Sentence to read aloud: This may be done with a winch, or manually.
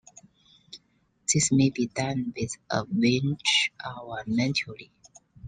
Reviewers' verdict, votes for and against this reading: accepted, 2, 0